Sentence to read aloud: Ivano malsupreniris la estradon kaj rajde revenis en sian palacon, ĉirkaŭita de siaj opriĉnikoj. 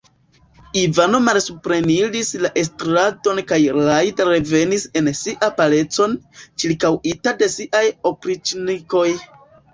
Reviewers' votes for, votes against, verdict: 1, 2, rejected